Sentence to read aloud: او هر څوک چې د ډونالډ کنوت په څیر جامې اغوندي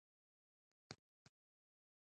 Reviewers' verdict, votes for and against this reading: rejected, 0, 2